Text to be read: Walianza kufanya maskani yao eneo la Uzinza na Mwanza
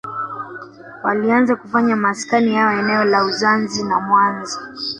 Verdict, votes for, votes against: rejected, 1, 2